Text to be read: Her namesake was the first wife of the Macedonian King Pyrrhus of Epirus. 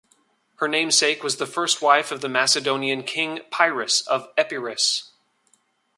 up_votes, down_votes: 2, 0